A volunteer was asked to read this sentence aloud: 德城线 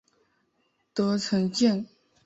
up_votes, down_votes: 2, 0